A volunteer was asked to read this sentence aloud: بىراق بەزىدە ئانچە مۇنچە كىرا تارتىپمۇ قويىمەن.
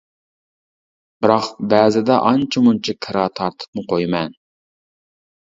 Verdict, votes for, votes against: accepted, 2, 0